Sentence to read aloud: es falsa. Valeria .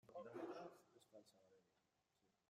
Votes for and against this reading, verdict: 0, 2, rejected